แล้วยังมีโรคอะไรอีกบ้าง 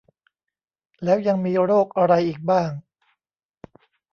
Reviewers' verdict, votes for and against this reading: accepted, 2, 0